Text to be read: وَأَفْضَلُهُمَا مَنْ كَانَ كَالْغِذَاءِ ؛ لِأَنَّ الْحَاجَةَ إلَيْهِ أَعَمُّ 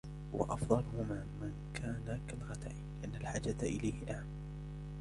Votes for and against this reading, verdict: 1, 2, rejected